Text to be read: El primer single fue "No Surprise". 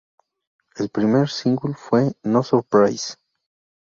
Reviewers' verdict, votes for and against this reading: accepted, 2, 0